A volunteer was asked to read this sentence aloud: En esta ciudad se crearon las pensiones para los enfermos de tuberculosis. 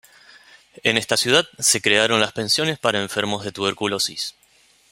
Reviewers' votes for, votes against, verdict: 1, 2, rejected